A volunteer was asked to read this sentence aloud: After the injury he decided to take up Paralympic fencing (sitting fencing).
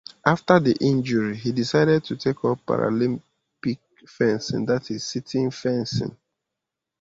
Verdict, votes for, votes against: rejected, 1, 2